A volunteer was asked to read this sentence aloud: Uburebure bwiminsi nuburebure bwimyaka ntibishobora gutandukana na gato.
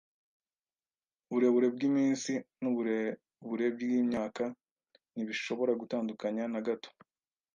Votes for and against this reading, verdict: 1, 2, rejected